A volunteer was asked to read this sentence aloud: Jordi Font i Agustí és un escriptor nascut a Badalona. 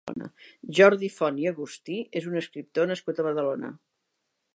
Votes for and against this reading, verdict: 3, 0, accepted